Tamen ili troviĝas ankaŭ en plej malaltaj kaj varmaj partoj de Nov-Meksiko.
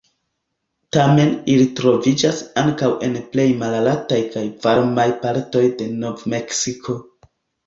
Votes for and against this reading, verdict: 2, 1, accepted